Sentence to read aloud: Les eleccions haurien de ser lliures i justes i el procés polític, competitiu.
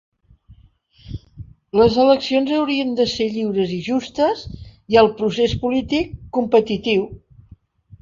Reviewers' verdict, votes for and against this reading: accepted, 2, 0